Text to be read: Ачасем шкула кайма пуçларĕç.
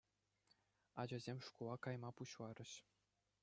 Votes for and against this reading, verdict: 2, 0, accepted